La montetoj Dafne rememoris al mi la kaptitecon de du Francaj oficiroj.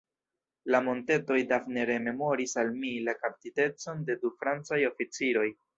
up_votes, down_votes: 3, 1